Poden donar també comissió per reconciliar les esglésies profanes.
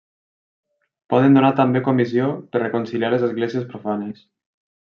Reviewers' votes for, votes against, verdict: 1, 2, rejected